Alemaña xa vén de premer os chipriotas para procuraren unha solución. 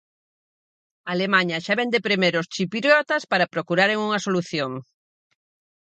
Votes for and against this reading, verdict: 0, 4, rejected